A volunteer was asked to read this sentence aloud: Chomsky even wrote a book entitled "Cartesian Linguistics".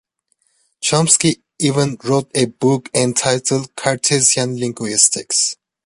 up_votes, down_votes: 2, 0